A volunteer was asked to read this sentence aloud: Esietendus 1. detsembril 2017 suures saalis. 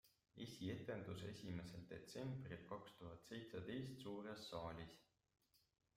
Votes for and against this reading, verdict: 0, 2, rejected